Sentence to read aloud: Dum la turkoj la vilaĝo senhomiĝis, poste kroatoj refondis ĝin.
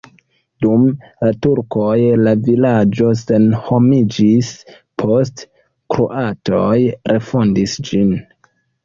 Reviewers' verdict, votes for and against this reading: rejected, 1, 2